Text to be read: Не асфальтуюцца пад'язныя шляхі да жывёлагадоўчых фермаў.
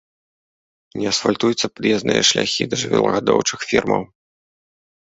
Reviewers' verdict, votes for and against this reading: accepted, 2, 0